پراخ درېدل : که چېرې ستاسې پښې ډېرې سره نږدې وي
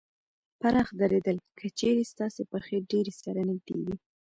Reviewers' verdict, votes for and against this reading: accepted, 2, 1